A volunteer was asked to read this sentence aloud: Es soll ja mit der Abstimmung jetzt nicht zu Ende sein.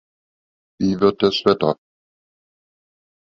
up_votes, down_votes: 0, 2